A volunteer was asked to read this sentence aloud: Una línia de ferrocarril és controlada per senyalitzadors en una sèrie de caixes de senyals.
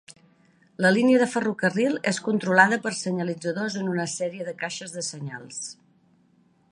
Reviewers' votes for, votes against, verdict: 1, 2, rejected